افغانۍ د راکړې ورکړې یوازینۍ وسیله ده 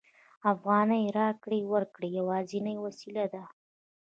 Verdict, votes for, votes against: rejected, 0, 2